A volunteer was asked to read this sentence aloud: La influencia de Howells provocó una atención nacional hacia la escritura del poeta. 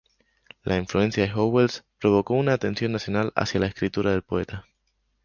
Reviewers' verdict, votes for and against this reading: rejected, 0, 2